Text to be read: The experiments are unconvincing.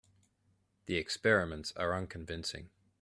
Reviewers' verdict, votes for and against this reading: accepted, 2, 0